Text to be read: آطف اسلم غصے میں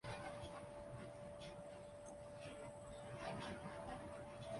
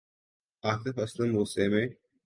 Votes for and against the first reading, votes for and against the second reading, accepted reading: 0, 2, 3, 0, second